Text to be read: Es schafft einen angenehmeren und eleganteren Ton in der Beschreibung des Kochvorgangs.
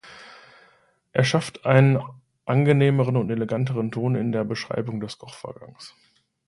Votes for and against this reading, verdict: 1, 2, rejected